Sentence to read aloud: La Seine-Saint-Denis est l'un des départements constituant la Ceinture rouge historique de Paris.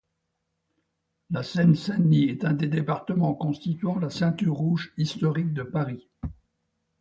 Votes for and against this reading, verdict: 0, 2, rejected